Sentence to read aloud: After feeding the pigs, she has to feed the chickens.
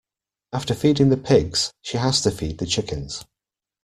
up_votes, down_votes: 2, 0